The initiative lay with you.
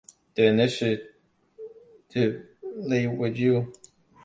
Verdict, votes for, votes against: rejected, 1, 3